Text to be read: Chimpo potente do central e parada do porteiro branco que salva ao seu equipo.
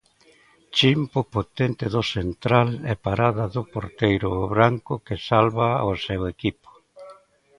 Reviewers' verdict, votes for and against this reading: rejected, 0, 2